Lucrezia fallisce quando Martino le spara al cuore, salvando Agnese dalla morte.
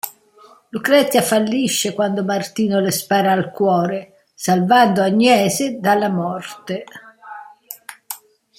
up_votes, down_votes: 0, 2